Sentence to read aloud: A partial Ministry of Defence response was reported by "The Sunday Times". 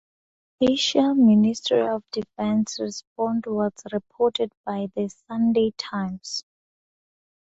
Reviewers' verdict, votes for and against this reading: rejected, 0, 4